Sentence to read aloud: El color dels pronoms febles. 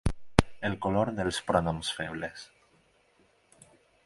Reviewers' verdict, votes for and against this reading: accepted, 10, 0